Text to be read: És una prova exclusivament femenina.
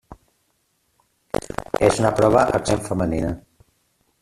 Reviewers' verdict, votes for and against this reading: rejected, 0, 2